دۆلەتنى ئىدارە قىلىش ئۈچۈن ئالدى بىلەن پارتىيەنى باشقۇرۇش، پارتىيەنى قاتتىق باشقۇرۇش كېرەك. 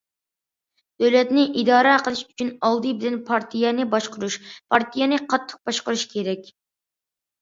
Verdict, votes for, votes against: accepted, 2, 0